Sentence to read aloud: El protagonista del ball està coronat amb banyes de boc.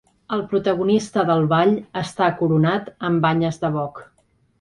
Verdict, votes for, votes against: accepted, 2, 1